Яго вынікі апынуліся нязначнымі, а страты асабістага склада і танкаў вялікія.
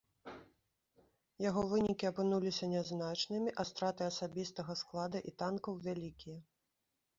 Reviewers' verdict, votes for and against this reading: accepted, 2, 0